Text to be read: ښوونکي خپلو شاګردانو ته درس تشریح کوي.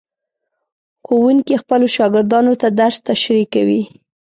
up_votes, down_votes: 3, 0